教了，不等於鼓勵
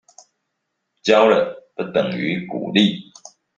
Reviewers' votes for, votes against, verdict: 2, 0, accepted